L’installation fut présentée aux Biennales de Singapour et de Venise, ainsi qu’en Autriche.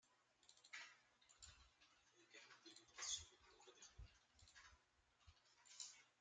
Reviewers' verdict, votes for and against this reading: rejected, 0, 2